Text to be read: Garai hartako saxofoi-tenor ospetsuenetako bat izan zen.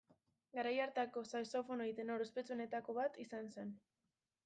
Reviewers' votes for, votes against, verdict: 0, 2, rejected